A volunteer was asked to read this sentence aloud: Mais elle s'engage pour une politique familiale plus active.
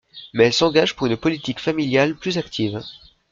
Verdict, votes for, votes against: accepted, 2, 0